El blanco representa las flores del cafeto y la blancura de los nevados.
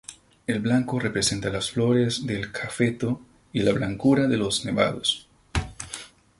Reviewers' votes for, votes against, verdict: 4, 0, accepted